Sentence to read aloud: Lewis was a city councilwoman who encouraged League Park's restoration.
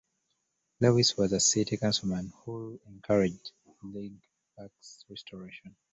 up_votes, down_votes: 0, 2